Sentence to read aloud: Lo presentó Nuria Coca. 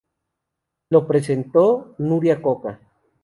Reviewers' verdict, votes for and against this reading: accepted, 2, 0